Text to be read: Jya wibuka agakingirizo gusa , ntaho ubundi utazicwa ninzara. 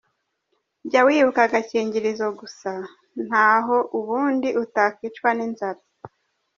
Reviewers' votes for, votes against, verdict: 0, 2, rejected